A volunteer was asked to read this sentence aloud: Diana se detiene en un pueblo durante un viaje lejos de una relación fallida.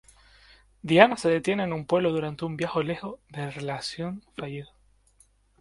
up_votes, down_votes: 0, 2